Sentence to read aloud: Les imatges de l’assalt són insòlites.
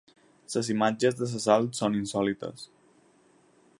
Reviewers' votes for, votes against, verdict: 2, 4, rejected